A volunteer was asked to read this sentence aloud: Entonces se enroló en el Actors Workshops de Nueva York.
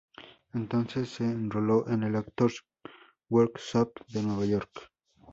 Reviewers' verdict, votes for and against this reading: accepted, 2, 0